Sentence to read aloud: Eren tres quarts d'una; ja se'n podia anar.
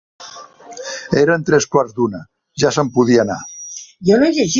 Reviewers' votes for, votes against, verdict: 1, 2, rejected